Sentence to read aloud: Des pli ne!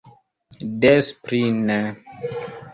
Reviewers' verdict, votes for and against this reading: accepted, 3, 1